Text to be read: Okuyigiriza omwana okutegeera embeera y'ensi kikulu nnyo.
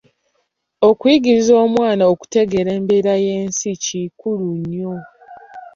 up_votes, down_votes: 2, 0